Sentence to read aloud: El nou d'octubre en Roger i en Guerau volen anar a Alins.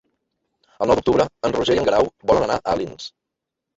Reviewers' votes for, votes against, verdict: 1, 2, rejected